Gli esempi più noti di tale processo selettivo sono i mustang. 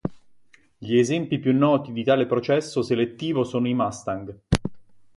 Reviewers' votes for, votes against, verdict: 2, 0, accepted